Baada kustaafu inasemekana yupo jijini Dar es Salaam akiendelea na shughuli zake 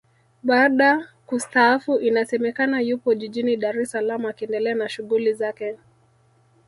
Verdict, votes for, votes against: rejected, 1, 2